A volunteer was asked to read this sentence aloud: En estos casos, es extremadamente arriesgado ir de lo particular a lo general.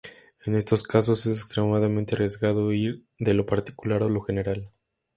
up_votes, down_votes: 2, 0